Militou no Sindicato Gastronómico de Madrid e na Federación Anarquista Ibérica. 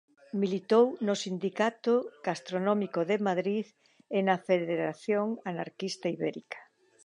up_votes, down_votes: 2, 0